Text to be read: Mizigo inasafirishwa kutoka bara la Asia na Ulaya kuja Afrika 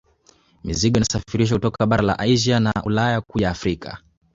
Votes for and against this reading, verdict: 0, 2, rejected